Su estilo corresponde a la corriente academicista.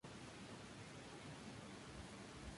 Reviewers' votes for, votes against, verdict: 0, 2, rejected